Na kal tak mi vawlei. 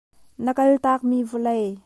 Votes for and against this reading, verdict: 0, 2, rejected